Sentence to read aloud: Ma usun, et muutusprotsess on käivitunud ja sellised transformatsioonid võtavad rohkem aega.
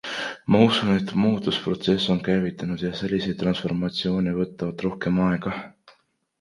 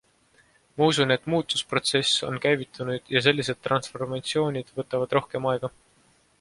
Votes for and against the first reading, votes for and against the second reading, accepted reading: 1, 2, 2, 0, second